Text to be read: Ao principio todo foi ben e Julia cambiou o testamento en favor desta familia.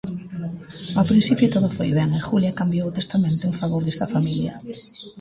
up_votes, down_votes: 0, 2